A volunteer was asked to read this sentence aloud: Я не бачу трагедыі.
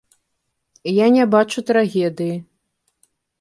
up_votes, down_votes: 2, 0